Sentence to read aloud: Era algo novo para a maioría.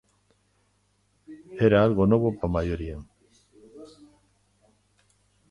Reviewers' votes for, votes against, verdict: 0, 2, rejected